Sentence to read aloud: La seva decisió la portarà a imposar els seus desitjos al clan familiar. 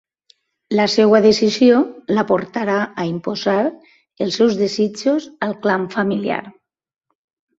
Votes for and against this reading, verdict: 1, 2, rejected